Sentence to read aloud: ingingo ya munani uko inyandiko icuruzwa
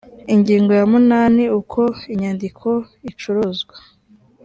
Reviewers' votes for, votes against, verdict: 2, 0, accepted